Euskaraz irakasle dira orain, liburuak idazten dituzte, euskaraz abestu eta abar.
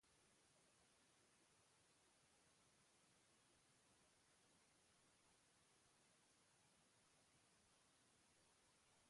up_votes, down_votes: 0, 3